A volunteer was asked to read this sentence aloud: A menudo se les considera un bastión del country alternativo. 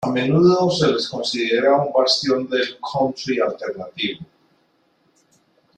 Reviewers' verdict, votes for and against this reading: accepted, 2, 1